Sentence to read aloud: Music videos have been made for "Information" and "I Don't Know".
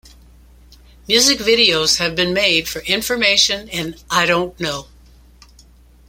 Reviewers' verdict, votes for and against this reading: accepted, 2, 0